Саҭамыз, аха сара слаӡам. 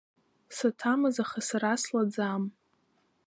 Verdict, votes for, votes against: accepted, 2, 0